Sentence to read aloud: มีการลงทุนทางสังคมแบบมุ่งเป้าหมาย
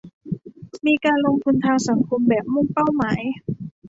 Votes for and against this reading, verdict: 1, 2, rejected